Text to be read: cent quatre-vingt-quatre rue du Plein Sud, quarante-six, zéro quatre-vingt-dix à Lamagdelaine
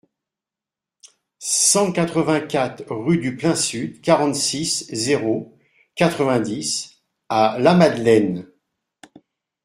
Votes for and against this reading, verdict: 1, 2, rejected